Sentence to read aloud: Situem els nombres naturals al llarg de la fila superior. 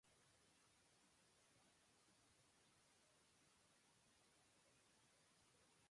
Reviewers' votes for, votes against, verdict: 0, 2, rejected